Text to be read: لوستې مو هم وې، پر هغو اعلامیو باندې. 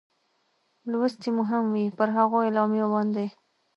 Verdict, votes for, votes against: accepted, 2, 0